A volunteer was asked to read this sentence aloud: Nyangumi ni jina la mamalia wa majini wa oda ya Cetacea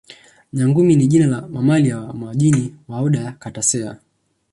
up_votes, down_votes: 0, 2